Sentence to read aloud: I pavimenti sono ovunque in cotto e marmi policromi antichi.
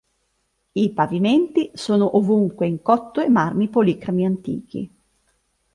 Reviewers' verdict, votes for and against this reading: accepted, 2, 1